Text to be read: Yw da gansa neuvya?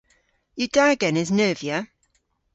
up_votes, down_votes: 0, 2